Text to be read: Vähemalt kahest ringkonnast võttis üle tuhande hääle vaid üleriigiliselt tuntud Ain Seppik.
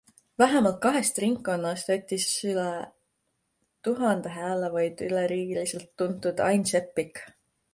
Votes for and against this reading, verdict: 2, 0, accepted